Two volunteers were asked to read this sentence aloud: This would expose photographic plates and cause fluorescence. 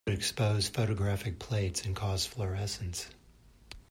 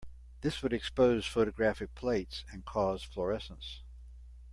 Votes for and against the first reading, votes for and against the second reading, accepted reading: 1, 2, 2, 0, second